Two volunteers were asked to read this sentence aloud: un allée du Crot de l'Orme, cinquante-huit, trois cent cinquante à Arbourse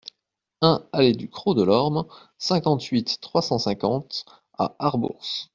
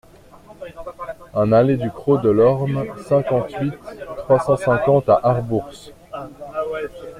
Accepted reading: first